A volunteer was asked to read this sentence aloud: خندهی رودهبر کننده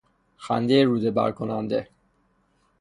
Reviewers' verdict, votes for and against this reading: rejected, 0, 6